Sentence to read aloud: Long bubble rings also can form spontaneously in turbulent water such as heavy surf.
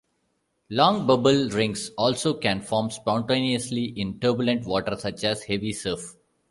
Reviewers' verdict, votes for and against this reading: accepted, 2, 0